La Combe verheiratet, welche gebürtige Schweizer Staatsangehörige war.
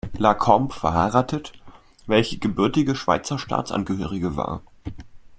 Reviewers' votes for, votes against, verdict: 2, 0, accepted